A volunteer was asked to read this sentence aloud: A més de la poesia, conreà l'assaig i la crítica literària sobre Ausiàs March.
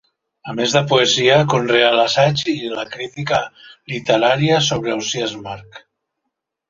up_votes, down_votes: 0, 2